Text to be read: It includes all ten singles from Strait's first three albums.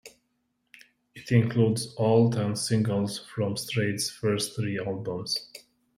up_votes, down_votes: 2, 0